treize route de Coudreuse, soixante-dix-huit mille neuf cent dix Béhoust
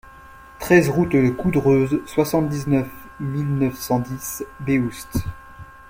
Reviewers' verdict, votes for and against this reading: rejected, 0, 2